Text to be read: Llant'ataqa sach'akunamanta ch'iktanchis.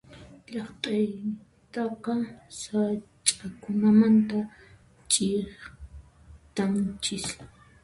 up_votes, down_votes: 1, 2